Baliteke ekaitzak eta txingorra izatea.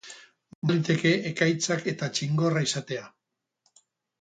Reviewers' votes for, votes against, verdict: 4, 6, rejected